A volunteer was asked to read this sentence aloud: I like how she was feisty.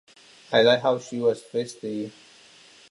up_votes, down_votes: 2, 1